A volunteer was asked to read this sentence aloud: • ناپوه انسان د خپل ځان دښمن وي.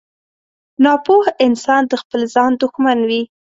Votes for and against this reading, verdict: 4, 0, accepted